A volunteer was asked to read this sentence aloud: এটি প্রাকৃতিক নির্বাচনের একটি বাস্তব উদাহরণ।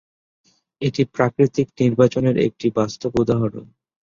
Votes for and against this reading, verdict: 13, 0, accepted